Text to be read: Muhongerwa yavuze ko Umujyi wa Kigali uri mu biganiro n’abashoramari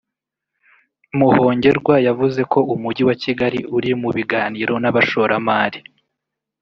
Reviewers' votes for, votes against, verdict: 1, 2, rejected